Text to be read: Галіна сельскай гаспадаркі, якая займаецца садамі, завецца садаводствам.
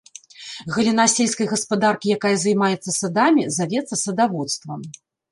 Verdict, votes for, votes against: accepted, 2, 1